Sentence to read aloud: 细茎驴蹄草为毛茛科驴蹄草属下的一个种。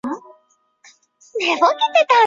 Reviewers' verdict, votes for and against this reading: rejected, 0, 2